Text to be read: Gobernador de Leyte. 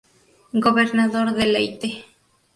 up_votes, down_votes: 2, 0